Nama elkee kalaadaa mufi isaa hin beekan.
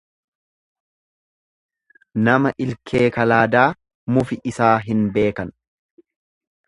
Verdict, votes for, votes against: rejected, 1, 2